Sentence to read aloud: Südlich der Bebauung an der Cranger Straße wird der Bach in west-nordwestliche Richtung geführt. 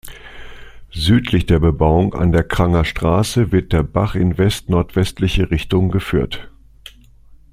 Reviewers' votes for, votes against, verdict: 2, 0, accepted